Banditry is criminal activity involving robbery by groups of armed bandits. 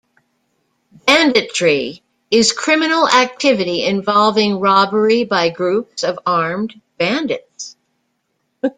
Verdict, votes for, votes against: rejected, 1, 2